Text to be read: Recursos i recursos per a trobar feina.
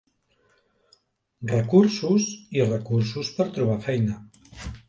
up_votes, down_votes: 1, 2